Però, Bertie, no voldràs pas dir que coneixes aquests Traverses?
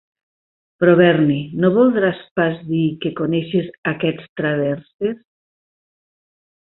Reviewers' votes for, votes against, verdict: 0, 3, rejected